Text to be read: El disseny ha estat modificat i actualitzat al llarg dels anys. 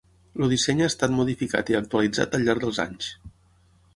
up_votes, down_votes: 3, 6